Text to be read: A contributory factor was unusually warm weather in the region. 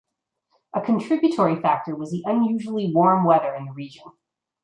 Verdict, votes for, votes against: accepted, 2, 1